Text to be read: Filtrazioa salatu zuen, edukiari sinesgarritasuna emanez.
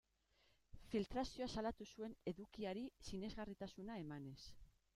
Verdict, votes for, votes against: accepted, 2, 1